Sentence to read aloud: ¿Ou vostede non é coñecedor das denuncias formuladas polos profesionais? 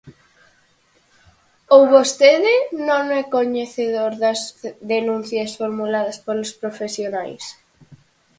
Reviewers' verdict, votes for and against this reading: accepted, 4, 0